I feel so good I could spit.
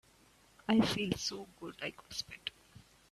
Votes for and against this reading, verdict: 1, 2, rejected